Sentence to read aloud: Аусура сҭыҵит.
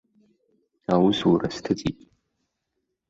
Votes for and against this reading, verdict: 2, 1, accepted